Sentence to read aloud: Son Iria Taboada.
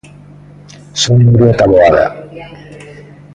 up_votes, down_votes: 0, 2